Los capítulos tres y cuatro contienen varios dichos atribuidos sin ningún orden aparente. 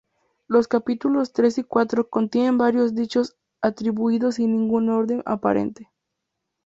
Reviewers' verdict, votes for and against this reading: accepted, 2, 0